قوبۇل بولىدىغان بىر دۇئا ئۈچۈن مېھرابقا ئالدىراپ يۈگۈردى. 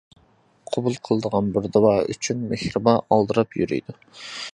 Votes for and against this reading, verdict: 0, 2, rejected